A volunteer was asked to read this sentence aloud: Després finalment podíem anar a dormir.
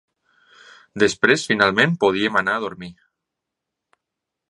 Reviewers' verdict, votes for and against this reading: accepted, 3, 0